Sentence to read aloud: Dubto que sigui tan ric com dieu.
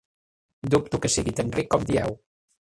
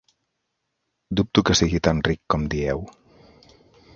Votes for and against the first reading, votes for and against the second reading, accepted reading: 0, 2, 2, 0, second